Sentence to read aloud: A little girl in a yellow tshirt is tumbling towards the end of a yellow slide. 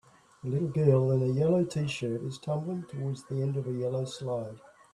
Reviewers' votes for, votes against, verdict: 2, 1, accepted